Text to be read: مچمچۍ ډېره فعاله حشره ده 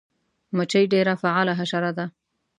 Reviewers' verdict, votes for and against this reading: rejected, 1, 2